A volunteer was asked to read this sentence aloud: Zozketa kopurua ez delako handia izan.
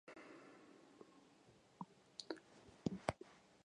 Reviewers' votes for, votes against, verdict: 0, 5, rejected